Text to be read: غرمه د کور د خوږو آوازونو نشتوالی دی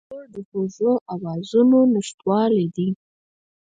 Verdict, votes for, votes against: rejected, 2, 4